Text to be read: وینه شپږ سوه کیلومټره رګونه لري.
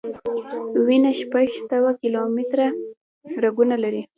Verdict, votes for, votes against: accepted, 2, 1